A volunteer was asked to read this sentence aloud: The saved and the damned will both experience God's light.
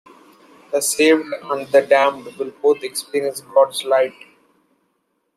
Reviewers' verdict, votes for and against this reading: accepted, 2, 0